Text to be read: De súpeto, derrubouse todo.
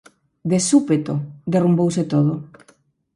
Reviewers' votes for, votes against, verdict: 0, 4, rejected